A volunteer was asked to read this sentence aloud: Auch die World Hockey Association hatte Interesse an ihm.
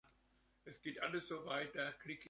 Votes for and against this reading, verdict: 0, 2, rejected